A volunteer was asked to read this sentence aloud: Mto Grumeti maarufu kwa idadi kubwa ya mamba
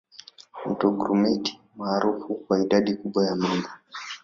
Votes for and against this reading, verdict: 2, 0, accepted